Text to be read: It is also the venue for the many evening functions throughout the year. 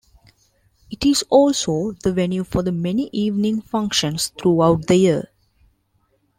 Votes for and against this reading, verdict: 2, 0, accepted